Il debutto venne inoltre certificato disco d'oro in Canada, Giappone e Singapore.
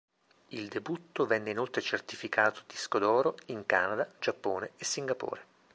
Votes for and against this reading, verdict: 2, 0, accepted